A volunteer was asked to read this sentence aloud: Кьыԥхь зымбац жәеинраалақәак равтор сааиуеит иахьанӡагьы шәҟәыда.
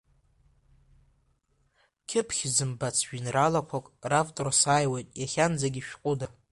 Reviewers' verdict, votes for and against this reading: accepted, 2, 1